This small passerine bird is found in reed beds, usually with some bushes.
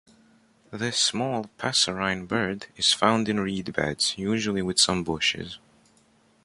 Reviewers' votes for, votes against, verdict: 2, 0, accepted